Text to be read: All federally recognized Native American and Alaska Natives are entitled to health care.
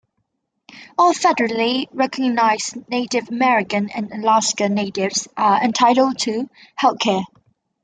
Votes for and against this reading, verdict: 2, 1, accepted